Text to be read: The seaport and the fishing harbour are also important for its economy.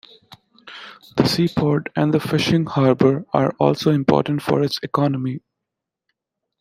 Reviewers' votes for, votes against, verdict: 2, 0, accepted